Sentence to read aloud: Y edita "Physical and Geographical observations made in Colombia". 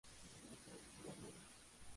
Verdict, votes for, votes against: rejected, 0, 2